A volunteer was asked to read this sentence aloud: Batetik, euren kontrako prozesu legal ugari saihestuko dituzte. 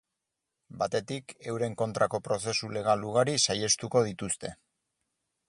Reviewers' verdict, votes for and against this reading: accepted, 4, 0